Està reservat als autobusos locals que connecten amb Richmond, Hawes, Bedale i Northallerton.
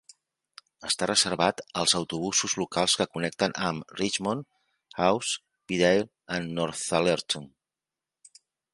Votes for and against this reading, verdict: 0, 2, rejected